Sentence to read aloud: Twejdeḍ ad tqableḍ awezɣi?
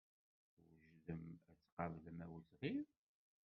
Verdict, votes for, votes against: rejected, 0, 2